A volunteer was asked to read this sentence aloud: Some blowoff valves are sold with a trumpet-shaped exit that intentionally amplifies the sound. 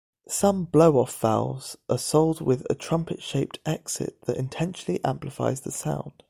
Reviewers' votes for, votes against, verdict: 2, 0, accepted